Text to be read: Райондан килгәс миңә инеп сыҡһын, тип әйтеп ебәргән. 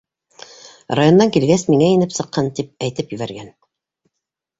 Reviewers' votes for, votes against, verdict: 2, 0, accepted